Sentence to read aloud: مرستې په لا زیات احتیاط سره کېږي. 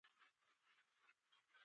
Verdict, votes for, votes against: rejected, 0, 2